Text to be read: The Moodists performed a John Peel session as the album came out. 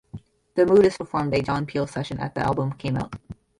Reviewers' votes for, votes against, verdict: 0, 3, rejected